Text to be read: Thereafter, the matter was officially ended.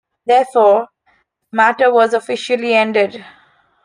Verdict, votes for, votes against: rejected, 0, 2